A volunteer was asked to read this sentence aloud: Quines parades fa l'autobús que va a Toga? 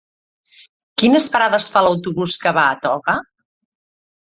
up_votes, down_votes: 3, 0